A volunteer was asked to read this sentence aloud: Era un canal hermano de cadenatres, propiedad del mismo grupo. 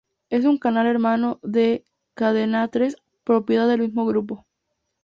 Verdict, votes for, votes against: accepted, 4, 0